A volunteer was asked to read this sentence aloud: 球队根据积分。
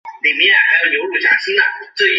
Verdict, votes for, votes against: rejected, 0, 2